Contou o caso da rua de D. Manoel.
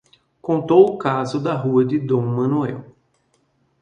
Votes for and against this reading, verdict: 2, 1, accepted